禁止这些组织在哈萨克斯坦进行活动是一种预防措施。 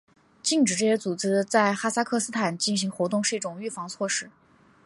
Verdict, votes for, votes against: accepted, 3, 0